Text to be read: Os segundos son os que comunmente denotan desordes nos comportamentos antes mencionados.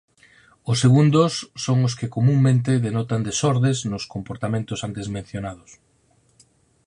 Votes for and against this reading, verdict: 4, 0, accepted